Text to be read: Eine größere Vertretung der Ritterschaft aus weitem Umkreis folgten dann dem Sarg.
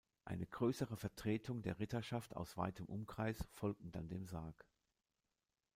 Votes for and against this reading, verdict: 2, 1, accepted